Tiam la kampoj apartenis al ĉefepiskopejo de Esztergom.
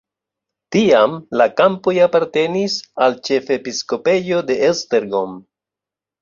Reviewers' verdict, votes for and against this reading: accepted, 2, 0